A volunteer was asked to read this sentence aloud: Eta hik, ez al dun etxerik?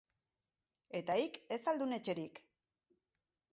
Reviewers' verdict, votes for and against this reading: rejected, 2, 2